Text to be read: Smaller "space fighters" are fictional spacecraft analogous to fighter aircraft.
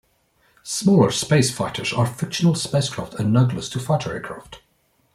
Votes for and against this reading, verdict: 1, 2, rejected